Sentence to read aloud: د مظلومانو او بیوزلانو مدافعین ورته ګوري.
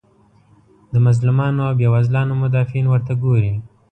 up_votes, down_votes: 2, 0